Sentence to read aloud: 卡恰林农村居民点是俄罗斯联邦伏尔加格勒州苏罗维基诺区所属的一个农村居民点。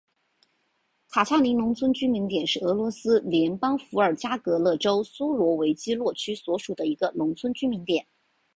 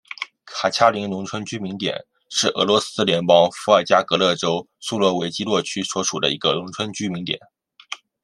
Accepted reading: second